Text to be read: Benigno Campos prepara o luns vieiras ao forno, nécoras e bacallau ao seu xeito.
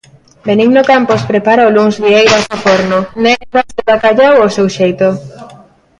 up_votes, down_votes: 0, 2